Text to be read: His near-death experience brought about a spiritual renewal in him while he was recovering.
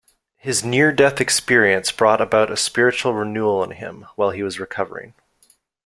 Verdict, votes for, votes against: accepted, 2, 0